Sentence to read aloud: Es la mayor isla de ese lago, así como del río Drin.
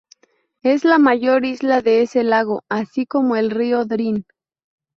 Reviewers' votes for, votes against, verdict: 4, 2, accepted